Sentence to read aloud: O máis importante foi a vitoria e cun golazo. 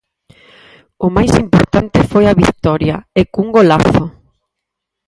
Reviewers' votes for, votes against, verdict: 2, 8, rejected